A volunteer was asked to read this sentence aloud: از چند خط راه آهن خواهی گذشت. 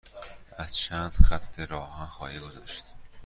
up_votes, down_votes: 2, 0